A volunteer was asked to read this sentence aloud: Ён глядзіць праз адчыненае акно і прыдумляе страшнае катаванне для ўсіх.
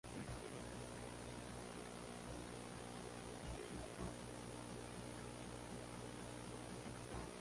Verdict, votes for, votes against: rejected, 0, 2